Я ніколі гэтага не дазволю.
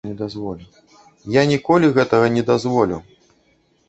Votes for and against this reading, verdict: 0, 2, rejected